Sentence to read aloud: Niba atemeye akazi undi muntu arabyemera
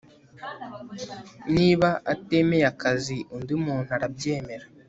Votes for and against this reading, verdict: 2, 1, accepted